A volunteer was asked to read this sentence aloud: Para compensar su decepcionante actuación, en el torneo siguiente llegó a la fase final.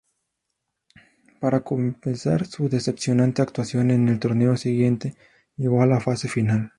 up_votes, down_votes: 4, 0